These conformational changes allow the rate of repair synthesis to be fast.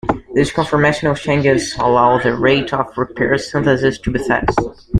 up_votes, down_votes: 0, 2